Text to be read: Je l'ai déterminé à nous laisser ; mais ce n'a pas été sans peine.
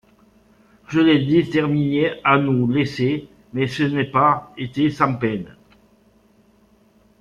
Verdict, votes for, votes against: rejected, 0, 2